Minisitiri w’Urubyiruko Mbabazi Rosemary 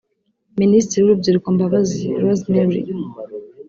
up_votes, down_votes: 2, 0